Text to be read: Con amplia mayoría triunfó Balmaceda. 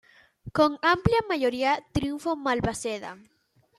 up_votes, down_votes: 2, 1